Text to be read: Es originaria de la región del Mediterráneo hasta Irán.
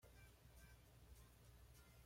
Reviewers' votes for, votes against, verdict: 1, 2, rejected